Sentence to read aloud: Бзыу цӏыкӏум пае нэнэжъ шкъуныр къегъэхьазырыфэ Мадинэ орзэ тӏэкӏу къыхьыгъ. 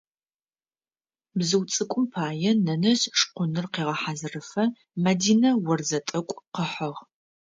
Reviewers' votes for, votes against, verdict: 2, 0, accepted